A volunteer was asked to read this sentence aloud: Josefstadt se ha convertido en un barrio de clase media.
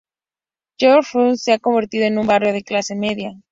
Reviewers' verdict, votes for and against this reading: rejected, 0, 2